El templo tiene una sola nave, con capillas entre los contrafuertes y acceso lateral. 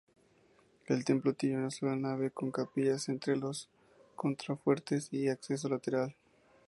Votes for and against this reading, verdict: 2, 0, accepted